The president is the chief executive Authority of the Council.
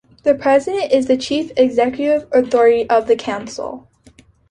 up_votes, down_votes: 2, 0